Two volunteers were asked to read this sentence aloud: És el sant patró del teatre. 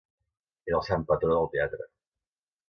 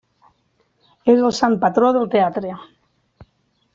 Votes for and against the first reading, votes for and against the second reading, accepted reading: 1, 2, 3, 1, second